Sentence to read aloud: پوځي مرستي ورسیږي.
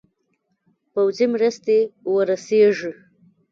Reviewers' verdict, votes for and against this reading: rejected, 1, 2